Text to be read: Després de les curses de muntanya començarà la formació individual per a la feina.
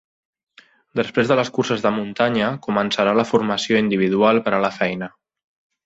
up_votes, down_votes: 3, 0